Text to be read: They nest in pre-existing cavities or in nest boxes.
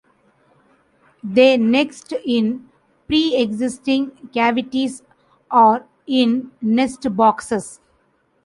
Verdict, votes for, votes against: rejected, 0, 2